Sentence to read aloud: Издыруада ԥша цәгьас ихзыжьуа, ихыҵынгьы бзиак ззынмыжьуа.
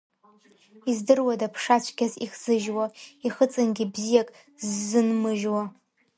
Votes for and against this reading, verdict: 2, 1, accepted